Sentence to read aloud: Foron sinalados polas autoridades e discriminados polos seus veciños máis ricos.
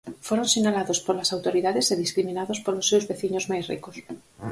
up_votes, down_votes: 4, 0